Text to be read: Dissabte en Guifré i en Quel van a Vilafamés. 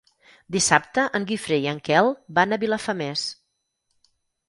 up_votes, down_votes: 8, 0